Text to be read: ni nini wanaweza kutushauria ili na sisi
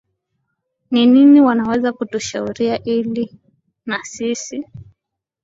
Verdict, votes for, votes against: accepted, 2, 0